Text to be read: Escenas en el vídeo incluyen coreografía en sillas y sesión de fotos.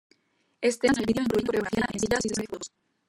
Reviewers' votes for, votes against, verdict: 0, 2, rejected